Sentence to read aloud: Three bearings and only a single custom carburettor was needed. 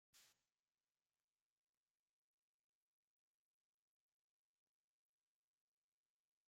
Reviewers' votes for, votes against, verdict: 0, 2, rejected